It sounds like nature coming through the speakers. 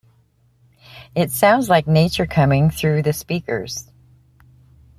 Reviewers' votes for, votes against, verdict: 2, 0, accepted